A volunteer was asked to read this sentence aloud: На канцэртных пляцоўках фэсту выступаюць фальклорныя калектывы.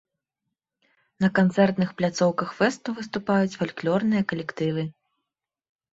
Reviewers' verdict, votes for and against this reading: accepted, 2, 0